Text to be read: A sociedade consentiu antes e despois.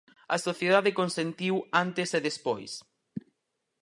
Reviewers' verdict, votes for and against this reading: accepted, 4, 0